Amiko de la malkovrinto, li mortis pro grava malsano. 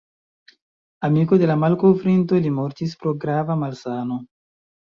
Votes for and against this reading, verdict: 2, 1, accepted